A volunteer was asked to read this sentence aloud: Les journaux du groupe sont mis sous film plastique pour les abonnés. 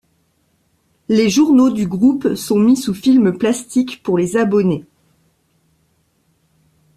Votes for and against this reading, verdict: 2, 0, accepted